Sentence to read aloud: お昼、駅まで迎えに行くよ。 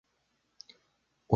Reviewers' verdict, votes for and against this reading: rejected, 0, 2